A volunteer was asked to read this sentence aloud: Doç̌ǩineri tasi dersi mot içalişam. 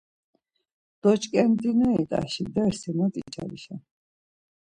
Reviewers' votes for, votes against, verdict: 0, 2, rejected